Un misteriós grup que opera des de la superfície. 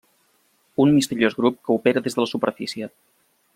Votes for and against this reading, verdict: 3, 0, accepted